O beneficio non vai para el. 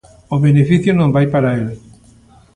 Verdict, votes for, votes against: accepted, 2, 0